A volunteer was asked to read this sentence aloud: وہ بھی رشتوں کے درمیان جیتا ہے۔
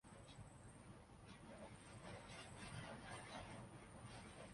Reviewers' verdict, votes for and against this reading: rejected, 0, 2